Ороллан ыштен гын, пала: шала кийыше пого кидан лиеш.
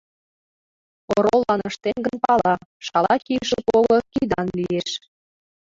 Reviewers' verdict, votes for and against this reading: rejected, 0, 2